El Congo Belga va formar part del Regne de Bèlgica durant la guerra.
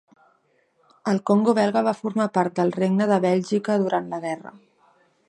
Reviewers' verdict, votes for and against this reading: accepted, 2, 0